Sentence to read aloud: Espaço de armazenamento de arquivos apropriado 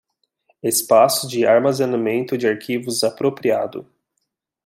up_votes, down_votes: 2, 0